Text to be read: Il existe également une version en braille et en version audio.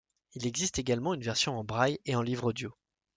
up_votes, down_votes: 1, 2